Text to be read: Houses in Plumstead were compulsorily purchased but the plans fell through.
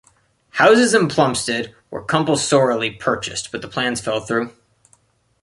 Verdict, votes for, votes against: accepted, 2, 1